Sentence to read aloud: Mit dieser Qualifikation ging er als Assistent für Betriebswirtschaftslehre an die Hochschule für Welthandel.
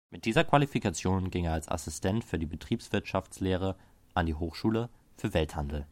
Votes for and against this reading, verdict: 1, 2, rejected